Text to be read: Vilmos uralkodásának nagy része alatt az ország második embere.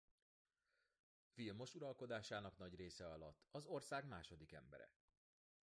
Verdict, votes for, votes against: accepted, 2, 1